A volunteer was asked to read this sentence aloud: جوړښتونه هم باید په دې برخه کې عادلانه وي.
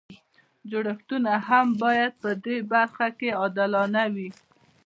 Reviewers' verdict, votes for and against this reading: rejected, 1, 2